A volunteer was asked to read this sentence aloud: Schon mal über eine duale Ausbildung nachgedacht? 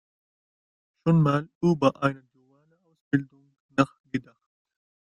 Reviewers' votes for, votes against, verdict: 0, 2, rejected